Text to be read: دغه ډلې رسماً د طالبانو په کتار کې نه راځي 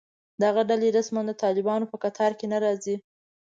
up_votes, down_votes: 2, 0